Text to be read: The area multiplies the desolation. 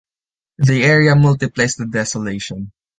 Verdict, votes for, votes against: rejected, 2, 3